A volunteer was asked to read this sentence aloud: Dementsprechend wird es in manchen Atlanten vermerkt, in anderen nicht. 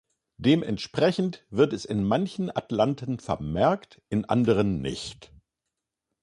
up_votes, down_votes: 2, 0